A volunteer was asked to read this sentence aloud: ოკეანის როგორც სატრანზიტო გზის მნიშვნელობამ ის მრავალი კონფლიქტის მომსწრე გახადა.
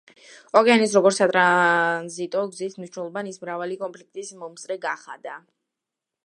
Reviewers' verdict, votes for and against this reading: rejected, 1, 2